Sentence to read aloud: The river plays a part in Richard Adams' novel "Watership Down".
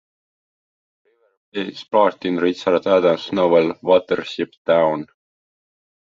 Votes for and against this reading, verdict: 1, 2, rejected